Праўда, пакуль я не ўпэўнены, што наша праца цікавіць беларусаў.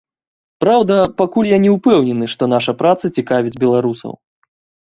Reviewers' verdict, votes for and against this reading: accepted, 2, 0